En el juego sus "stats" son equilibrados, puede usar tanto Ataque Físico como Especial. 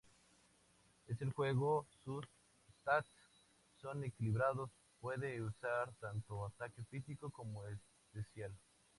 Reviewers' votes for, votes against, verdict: 0, 2, rejected